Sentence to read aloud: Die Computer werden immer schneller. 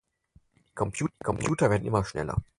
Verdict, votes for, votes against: rejected, 0, 4